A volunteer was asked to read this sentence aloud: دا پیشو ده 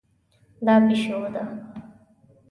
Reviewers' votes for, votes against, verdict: 1, 2, rejected